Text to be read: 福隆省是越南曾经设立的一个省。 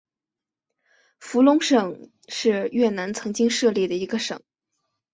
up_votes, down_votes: 4, 0